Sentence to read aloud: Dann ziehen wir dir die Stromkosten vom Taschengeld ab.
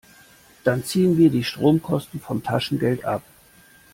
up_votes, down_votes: 1, 2